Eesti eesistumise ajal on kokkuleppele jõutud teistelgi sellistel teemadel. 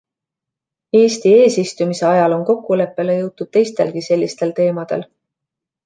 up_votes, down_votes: 2, 0